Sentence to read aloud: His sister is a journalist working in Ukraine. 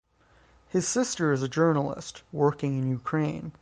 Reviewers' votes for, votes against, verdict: 3, 3, rejected